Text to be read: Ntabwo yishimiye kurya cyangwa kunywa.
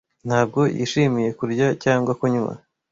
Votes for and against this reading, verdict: 2, 0, accepted